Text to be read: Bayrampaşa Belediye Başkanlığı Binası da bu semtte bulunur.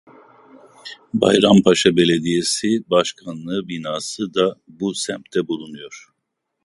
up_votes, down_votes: 0, 2